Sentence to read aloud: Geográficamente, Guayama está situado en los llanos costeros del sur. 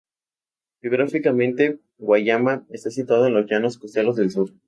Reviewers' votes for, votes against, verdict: 2, 0, accepted